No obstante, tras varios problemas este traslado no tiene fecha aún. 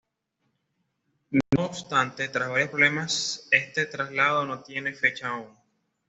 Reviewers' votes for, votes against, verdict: 2, 0, accepted